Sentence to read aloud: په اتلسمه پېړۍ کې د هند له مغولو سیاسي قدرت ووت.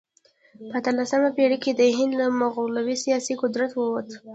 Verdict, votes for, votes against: rejected, 0, 2